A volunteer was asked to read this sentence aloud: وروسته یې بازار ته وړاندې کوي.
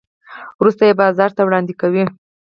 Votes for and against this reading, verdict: 2, 4, rejected